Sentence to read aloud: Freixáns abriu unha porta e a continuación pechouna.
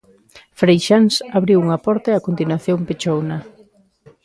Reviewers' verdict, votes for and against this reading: accepted, 2, 0